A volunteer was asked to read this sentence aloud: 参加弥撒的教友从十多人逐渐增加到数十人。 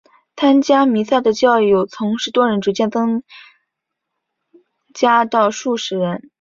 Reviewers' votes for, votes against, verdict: 2, 3, rejected